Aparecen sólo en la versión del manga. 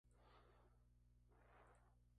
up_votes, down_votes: 0, 2